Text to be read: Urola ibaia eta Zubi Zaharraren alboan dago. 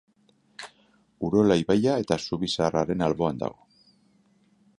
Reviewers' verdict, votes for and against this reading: rejected, 3, 3